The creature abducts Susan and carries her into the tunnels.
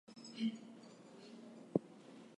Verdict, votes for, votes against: rejected, 0, 4